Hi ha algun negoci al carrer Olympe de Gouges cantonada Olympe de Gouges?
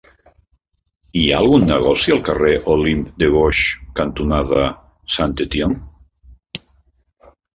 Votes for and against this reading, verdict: 0, 2, rejected